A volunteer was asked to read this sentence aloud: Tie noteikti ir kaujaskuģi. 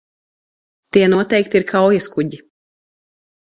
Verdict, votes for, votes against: accepted, 2, 0